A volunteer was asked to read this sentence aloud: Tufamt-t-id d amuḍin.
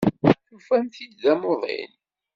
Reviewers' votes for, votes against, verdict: 2, 0, accepted